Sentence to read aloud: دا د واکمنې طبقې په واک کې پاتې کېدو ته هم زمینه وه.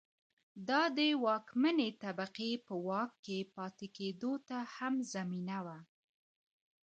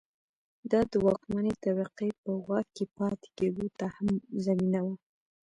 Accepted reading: second